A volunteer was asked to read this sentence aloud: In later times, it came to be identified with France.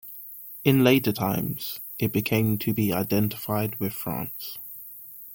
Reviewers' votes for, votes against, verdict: 0, 2, rejected